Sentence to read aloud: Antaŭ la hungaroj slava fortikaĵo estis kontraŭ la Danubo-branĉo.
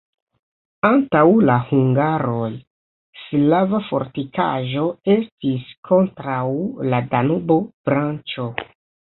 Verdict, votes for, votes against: accepted, 2, 0